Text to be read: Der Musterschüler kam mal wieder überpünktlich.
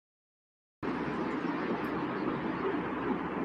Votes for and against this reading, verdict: 0, 2, rejected